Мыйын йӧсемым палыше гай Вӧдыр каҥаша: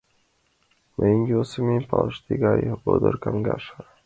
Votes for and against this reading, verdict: 0, 2, rejected